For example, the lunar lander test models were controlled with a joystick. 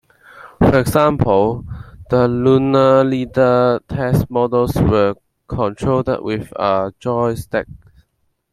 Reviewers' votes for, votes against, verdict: 1, 2, rejected